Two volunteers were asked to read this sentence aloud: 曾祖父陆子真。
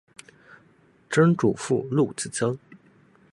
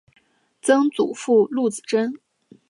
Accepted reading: second